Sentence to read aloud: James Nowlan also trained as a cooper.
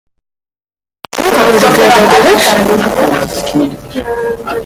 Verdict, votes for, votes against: rejected, 0, 2